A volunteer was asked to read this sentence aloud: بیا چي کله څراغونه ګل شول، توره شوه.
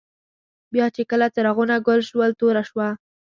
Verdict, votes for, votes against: accepted, 2, 0